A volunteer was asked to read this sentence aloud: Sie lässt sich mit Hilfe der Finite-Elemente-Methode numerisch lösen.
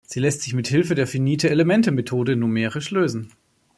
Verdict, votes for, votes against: accepted, 2, 0